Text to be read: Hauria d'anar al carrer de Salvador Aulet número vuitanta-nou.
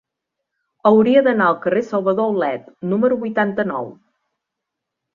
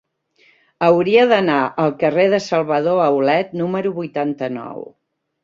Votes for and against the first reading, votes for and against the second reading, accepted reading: 0, 2, 2, 0, second